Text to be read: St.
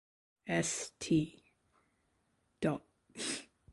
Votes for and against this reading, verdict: 0, 2, rejected